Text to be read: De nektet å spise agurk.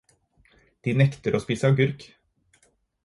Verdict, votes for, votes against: rejected, 0, 4